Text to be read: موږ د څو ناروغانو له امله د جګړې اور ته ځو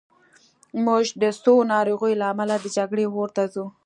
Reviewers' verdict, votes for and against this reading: accepted, 2, 0